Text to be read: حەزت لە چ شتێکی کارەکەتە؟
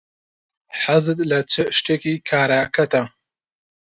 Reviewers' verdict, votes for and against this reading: accepted, 2, 0